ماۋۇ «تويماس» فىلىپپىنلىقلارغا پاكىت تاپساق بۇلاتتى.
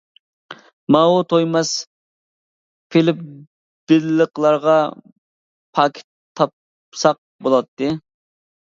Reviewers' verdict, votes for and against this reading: rejected, 0, 2